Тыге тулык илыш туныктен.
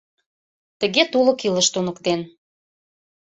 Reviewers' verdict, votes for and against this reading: accepted, 2, 0